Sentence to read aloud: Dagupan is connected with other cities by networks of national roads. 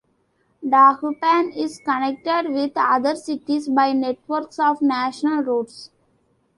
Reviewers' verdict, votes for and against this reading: accepted, 2, 0